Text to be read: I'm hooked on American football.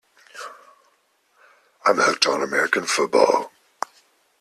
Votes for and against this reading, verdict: 2, 0, accepted